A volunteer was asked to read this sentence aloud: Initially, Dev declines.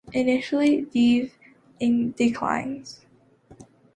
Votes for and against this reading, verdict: 1, 2, rejected